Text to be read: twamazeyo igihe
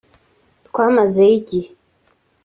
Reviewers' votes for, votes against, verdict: 3, 0, accepted